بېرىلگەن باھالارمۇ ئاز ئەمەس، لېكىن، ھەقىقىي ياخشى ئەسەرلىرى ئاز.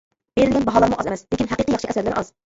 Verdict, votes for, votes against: rejected, 0, 2